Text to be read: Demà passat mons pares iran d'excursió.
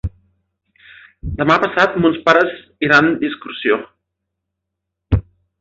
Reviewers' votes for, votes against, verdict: 3, 0, accepted